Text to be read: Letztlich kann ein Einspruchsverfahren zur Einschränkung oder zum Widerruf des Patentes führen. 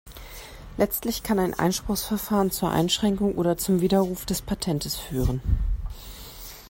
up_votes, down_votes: 2, 0